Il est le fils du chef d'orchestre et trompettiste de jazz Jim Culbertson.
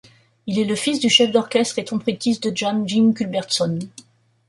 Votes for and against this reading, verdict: 1, 2, rejected